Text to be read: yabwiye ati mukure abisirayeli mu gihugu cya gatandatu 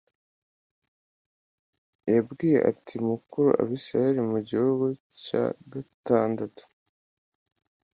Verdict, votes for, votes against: accepted, 2, 0